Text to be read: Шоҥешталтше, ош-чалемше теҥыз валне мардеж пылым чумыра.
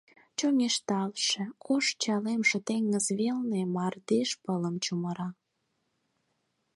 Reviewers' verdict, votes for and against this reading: rejected, 2, 4